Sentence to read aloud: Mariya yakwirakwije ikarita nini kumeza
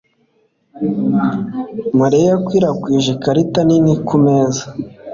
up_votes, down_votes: 2, 0